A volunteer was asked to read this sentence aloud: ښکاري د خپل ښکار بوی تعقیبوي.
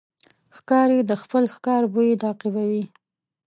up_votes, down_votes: 2, 0